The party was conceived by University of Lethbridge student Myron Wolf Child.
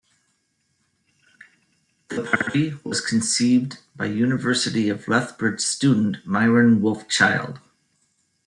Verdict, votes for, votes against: rejected, 1, 2